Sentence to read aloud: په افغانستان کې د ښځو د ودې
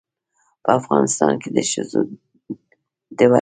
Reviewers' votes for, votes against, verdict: 1, 2, rejected